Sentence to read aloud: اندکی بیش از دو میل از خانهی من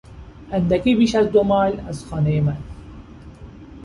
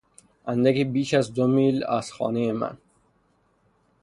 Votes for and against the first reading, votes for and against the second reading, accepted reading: 0, 2, 6, 0, second